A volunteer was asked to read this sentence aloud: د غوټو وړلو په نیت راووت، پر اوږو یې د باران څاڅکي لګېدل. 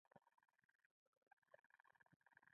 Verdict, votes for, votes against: rejected, 0, 2